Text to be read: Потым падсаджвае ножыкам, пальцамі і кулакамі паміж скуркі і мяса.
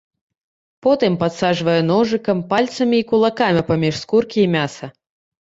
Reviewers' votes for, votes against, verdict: 2, 0, accepted